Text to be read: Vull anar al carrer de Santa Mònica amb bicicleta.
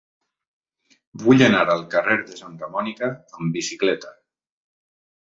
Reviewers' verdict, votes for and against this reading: accepted, 3, 0